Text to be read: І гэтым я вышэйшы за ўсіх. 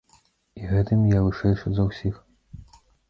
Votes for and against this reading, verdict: 2, 0, accepted